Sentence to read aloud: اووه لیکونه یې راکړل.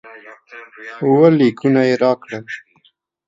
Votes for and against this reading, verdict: 0, 2, rejected